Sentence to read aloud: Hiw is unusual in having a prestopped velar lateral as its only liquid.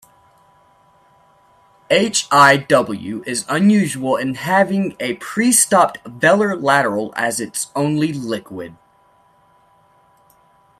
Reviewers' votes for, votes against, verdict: 1, 2, rejected